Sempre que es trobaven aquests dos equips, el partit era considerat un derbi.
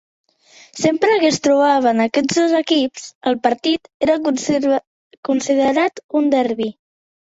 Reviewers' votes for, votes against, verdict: 0, 2, rejected